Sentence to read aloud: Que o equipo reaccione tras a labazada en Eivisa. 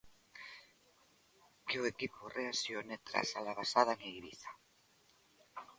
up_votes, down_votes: 1, 2